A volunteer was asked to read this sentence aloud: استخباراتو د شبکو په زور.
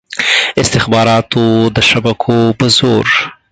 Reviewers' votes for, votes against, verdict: 4, 2, accepted